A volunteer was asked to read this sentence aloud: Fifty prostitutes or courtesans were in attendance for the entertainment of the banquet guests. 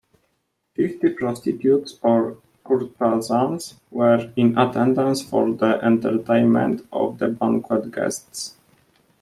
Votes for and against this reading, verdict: 2, 0, accepted